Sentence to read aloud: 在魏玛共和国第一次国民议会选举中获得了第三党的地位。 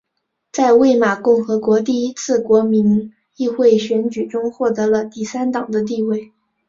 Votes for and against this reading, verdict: 0, 2, rejected